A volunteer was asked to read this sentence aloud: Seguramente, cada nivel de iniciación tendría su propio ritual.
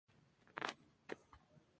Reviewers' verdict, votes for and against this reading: rejected, 0, 2